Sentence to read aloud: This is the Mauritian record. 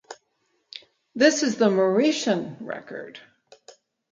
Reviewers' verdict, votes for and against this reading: accepted, 4, 0